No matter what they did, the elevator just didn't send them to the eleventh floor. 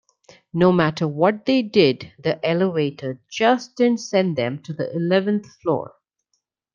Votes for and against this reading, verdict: 2, 0, accepted